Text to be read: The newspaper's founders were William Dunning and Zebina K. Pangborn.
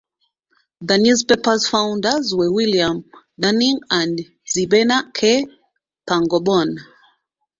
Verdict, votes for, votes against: rejected, 1, 2